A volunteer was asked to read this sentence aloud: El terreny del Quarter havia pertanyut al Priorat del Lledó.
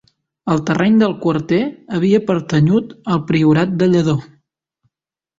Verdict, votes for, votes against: rejected, 1, 2